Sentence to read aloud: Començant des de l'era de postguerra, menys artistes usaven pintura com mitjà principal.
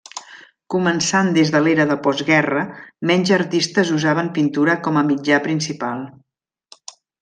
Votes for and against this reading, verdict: 1, 2, rejected